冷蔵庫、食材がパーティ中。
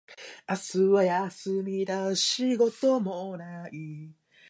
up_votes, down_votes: 0, 2